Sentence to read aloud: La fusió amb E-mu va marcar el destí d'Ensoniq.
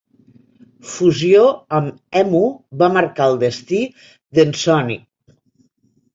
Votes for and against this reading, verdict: 1, 2, rejected